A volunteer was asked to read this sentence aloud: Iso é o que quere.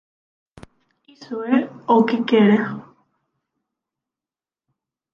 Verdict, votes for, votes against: rejected, 3, 6